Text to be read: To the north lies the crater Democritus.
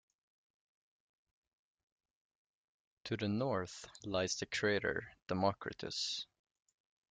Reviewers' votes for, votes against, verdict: 2, 1, accepted